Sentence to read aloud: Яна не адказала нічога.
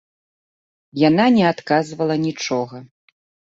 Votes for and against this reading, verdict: 0, 2, rejected